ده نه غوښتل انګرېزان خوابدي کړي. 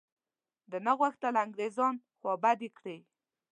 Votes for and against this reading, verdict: 2, 0, accepted